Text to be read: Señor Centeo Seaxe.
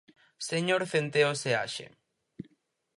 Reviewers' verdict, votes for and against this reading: accepted, 4, 0